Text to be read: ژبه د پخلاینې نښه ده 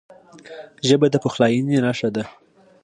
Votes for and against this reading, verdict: 2, 0, accepted